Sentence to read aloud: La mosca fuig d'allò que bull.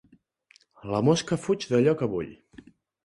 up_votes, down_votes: 2, 0